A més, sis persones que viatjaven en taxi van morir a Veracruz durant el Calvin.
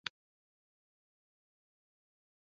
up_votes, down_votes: 1, 2